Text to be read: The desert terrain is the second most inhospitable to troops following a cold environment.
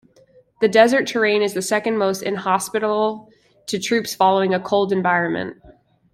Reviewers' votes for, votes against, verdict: 0, 2, rejected